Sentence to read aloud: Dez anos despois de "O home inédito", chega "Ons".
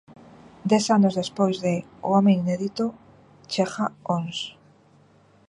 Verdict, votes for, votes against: accepted, 2, 0